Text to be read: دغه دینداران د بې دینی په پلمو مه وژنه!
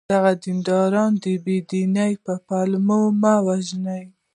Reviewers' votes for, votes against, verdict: 2, 0, accepted